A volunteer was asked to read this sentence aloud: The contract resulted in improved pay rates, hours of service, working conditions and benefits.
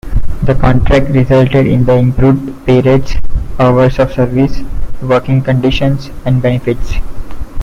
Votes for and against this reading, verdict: 0, 2, rejected